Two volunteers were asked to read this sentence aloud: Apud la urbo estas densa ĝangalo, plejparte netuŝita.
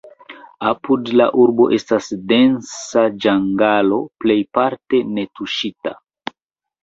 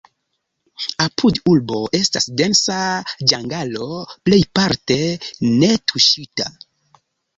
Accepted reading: first